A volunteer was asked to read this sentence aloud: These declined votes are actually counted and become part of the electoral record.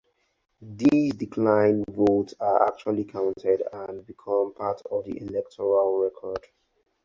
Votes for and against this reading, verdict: 4, 0, accepted